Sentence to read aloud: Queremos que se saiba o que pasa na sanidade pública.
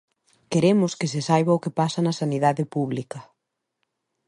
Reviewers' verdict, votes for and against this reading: accepted, 2, 0